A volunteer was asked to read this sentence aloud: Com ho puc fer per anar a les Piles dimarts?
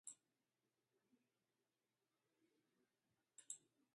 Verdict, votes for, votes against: rejected, 0, 2